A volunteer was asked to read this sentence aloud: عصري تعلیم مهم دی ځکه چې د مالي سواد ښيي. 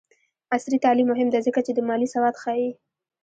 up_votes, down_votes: 0, 2